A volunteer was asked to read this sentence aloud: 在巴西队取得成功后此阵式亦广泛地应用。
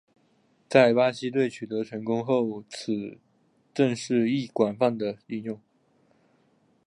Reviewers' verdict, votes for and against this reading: accepted, 3, 0